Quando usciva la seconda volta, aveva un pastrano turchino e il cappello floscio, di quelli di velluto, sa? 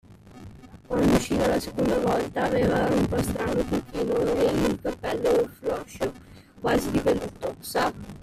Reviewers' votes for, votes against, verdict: 0, 2, rejected